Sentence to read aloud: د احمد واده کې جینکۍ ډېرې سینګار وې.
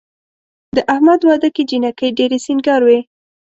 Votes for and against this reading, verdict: 2, 0, accepted